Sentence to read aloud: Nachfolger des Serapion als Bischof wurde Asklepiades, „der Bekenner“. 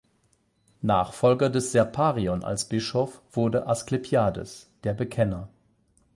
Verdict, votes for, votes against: rejected, 0, 8